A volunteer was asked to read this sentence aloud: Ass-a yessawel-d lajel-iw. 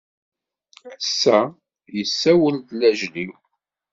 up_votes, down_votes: 2, 0